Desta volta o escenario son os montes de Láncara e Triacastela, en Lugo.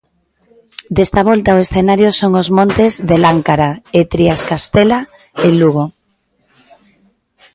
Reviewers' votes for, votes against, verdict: 0, 2, rejected